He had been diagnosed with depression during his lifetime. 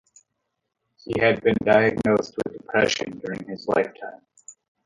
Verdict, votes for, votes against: rejected, 1, 2